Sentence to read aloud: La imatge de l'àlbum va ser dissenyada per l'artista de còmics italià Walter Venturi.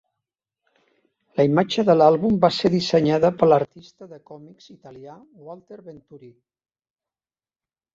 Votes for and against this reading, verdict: 0, 2, rejected